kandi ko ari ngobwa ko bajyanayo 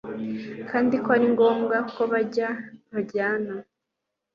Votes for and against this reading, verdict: 3, 0, accepted